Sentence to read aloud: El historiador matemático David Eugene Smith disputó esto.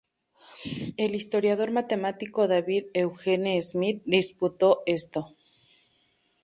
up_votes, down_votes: 0, 2